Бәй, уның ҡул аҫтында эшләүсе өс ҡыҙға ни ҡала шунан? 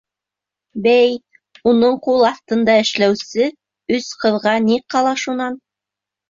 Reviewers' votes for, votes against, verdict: 2, 0, accepted